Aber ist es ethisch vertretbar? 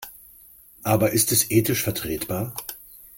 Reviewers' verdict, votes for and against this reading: accepted, 2, 0